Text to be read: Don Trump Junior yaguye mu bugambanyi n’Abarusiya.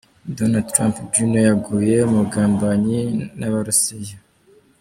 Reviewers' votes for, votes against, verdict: 2, 0, accepted